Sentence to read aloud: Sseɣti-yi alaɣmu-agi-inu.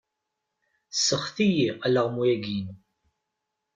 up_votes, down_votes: 0, 2